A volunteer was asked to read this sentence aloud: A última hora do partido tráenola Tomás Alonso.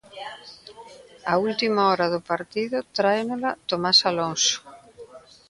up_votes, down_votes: 1, 2